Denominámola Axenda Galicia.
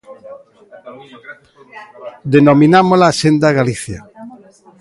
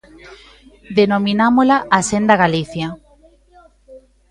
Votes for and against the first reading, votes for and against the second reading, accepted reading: 2, 0, 1, 2, first